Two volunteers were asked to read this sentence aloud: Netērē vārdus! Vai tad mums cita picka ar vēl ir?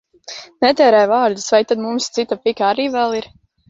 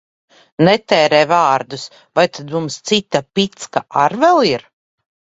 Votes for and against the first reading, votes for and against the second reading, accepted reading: 0, 2, 2, 1, second